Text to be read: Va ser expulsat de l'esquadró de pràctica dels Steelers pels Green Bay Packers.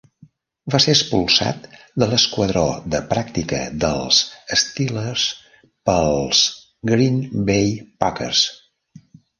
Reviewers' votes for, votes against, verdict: 0, 2, rejected